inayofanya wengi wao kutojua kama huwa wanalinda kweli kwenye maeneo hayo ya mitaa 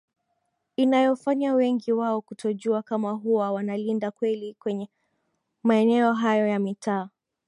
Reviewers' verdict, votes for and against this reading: accepted, 8, 0